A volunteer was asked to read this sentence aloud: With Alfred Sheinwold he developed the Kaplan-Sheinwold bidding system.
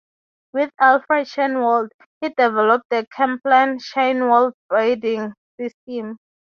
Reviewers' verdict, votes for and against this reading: rejected, 0, 3